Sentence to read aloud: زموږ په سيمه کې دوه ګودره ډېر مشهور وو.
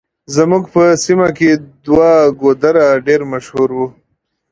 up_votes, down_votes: 2, 0